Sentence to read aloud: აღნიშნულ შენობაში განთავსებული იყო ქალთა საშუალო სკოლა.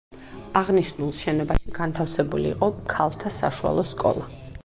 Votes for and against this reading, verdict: 2, 4, rejected